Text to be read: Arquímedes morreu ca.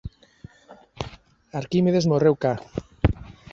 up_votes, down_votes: 2, 0